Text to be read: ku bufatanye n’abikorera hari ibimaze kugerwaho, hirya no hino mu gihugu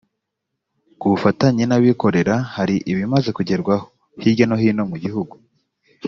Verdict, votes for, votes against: accepted, 2, 0